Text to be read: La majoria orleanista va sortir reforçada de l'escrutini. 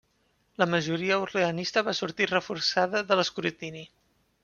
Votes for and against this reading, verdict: 2, 0, accepted